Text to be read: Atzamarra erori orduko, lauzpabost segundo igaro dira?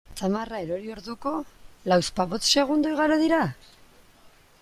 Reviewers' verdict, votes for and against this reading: rejected, 0, 2